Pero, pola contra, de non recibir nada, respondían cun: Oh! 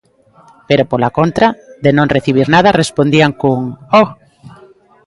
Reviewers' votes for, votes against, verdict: 2, 0, accepted